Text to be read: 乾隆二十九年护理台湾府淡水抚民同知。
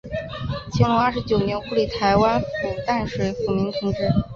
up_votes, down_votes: 0, 2